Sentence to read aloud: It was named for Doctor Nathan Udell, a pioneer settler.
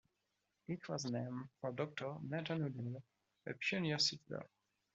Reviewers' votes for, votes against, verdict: 1, 2, rejected